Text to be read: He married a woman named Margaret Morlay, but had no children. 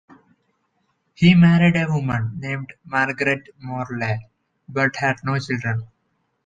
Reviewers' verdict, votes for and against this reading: accepted, 2, 0